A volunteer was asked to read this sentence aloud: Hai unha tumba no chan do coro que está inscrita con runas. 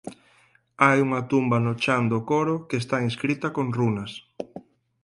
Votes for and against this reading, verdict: 4, 2, accepted